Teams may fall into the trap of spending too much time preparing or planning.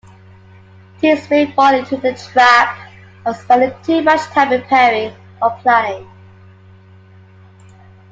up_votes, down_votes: 2, 1